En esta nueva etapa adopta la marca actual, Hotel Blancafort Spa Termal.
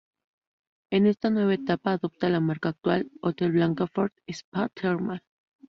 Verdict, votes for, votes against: accepted, 2, 0